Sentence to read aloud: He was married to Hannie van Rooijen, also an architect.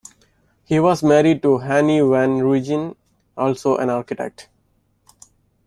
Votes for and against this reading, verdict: 1, 2, rejected